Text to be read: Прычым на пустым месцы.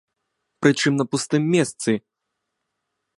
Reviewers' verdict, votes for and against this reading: accepted, 2, 0